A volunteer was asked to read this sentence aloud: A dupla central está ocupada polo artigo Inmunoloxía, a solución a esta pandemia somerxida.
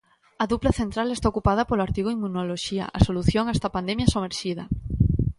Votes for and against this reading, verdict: 2, 0, accepted